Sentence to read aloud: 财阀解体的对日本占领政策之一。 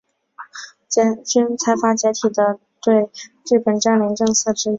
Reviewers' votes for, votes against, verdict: 5, 1, accepted